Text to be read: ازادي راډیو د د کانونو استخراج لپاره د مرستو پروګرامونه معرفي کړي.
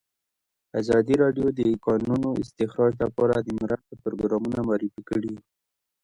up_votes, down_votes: 1, 2